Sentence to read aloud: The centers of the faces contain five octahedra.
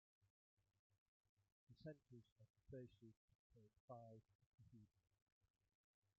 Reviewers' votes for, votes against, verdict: 0, 2, rejected